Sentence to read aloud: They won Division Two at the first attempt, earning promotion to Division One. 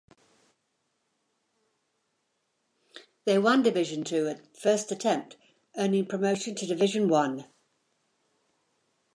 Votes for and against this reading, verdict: 2, 1, accepted